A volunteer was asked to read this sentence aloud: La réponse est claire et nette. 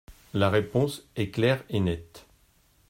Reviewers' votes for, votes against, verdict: 2, 0, accepted